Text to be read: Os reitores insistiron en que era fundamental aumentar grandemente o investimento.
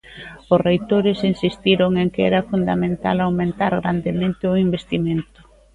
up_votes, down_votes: 2, 0